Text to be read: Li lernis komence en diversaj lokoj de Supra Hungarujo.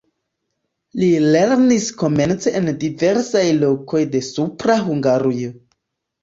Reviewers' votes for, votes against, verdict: 2, 0, accepted